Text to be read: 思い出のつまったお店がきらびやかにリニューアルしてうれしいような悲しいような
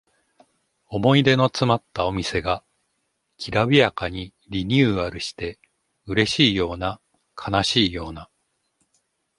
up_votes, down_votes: 2, 0